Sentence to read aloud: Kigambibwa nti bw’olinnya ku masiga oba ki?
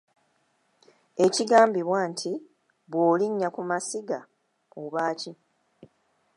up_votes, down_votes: 0, 2